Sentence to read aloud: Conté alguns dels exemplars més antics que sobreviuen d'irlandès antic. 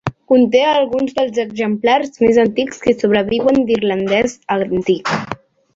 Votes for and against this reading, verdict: 0, 2, rejected